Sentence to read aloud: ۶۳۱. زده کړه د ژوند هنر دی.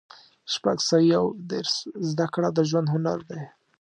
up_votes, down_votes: 0, 2